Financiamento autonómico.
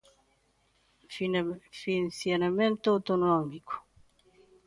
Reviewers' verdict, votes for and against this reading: rejected, 0, 2